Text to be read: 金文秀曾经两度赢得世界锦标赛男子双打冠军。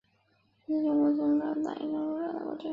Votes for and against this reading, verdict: 2, 0, accepted